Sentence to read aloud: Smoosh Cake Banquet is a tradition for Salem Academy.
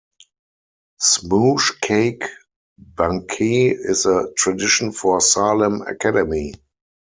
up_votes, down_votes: 0, 4